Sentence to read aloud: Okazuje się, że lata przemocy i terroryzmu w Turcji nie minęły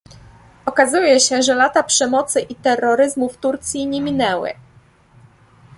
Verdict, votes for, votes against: accepted, 2, 0